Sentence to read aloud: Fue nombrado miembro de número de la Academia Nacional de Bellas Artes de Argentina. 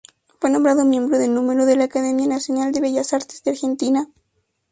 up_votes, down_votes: 0, 2